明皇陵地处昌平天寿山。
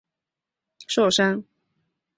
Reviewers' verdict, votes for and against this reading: rejected, 1, 3